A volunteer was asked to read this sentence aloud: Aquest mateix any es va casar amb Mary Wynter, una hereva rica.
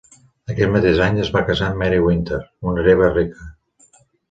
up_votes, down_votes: 2, 0